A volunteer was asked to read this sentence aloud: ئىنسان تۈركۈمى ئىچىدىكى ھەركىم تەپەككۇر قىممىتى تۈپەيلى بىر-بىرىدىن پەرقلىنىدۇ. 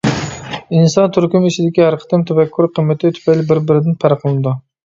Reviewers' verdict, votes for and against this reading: rejected, 0, 2